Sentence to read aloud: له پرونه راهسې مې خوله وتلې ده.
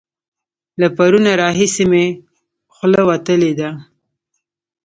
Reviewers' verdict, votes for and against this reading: rejected, 0, 2